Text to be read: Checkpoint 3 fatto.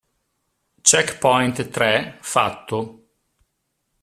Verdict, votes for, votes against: rejected, 0, 2